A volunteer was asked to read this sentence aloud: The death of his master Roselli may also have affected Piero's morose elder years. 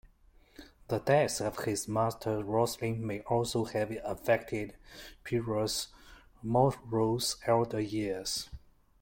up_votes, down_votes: 2, 1